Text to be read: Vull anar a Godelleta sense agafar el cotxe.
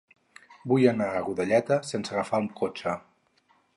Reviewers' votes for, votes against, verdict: 2, 2, rejected